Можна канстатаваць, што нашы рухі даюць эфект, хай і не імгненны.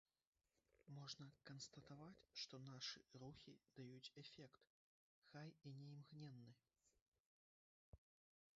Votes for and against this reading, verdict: 1, 2, rejected